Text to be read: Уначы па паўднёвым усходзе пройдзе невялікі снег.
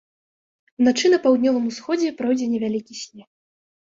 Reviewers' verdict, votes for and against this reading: rejected, 1, 2